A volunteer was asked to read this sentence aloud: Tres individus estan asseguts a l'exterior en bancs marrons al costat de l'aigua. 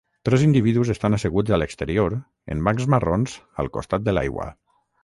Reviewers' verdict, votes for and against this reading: rejected, 0, 3